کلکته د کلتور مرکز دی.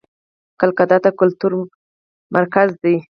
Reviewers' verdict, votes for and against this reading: rejected, 2, 4